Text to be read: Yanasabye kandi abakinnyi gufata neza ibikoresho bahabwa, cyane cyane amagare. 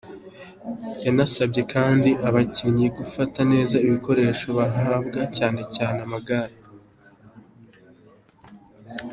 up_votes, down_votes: 2, 0